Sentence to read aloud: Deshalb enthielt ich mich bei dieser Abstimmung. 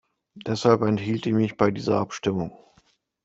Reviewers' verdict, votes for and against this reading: accepted, 2, 0